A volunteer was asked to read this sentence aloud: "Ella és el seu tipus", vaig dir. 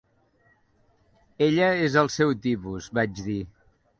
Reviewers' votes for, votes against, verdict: 2, 0, accepted